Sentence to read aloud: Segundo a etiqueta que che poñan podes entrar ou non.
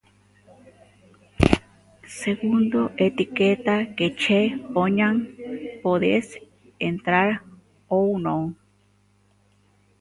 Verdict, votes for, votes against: rejected, 0, 2